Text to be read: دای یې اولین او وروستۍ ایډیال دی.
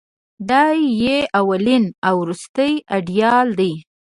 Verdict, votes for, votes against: accepted, 2, 0